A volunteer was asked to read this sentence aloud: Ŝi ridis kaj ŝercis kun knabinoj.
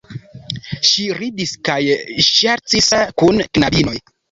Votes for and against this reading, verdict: 2, 1, accepted